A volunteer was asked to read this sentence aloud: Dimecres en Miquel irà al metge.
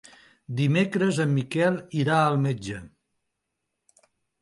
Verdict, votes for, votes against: accepted, 4, 0